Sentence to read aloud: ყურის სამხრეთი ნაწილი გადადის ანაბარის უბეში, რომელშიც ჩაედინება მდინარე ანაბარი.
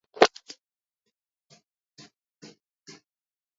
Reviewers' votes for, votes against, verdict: 0, 2, rejected